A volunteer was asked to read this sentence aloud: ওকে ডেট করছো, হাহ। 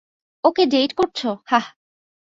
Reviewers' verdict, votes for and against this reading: accepted, 2, 0